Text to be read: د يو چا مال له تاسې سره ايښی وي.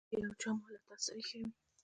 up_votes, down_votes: 1, 2